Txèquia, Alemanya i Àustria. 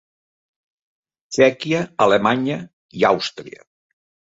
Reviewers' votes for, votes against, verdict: 3, 0, accepted